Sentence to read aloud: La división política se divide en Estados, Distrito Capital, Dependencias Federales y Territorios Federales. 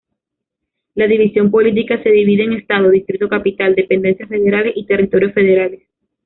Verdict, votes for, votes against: rejected, 1, 2